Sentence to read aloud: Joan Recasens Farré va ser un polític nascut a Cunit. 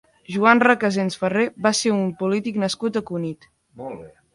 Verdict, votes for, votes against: rejected, 1, 2